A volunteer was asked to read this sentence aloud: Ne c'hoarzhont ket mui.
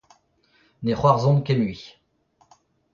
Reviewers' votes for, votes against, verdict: 0, 2, rejected